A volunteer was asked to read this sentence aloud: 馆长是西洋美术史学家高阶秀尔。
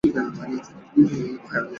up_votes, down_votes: 0, 2